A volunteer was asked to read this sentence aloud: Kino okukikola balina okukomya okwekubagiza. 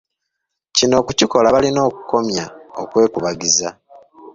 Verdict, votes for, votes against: accepted, 2, 0